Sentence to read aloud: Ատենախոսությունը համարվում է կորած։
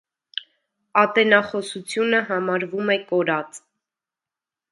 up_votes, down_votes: 2, 0